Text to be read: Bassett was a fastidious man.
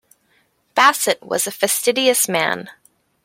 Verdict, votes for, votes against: accepted, 2, 0